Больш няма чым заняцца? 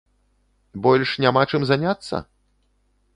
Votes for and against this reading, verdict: 2, 0, accepted